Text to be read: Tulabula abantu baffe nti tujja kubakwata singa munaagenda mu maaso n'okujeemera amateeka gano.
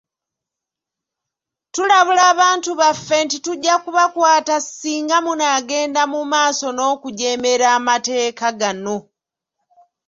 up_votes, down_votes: 2, 0